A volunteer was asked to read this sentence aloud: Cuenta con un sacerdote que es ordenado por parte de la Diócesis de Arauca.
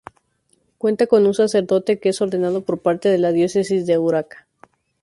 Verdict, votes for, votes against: rejected, 0, 2